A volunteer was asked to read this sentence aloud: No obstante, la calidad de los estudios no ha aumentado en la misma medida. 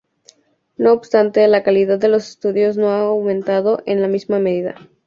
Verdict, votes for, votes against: accepted, 2, 0